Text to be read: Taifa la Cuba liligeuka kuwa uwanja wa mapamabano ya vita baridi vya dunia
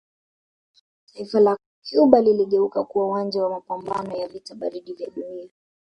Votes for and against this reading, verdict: 2, 0, accepted